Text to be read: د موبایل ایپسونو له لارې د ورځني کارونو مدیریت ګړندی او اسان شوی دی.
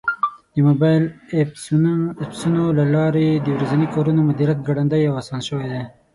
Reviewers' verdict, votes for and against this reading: rejected, 0, 6